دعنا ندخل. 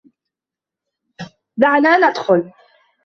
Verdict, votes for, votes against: rejected, 0, 2